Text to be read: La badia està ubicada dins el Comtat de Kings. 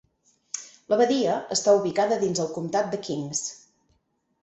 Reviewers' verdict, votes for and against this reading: accepted, 8, 0